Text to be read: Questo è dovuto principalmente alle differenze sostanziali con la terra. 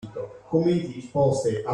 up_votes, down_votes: 0, 2